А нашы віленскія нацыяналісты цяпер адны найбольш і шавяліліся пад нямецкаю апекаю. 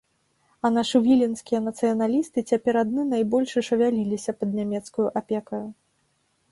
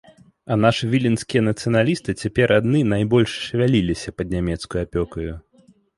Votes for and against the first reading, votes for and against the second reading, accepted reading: 2, 0, 0, 2, first